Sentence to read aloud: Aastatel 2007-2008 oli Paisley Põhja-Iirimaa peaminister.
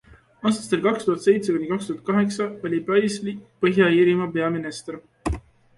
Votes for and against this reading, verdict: 0, 2, rejected